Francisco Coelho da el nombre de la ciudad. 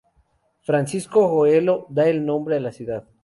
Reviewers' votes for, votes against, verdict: 0, 2, rejected